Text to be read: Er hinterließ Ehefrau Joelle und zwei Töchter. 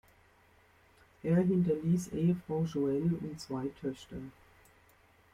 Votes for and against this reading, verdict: 2, 0, accepted